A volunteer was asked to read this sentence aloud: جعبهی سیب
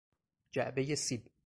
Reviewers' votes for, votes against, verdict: 4, 0, accepted